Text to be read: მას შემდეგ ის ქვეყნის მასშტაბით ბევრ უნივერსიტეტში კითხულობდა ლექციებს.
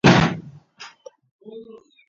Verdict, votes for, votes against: rejected, 0, 2